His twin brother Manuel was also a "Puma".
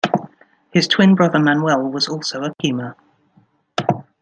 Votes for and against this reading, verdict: 2, 0, accepted